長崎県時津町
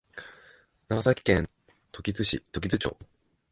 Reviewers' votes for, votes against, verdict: 0, 2, rejected